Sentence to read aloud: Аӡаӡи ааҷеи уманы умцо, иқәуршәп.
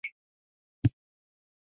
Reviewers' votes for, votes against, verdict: 0, 2, rejected